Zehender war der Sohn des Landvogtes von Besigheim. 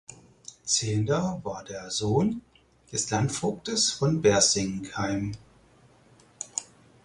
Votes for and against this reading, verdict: 0, 4, rejected